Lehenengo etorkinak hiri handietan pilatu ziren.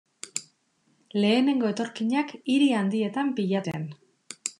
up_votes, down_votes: 0, 2